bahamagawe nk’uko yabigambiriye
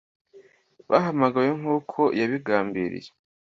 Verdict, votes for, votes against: accepted, 2, 0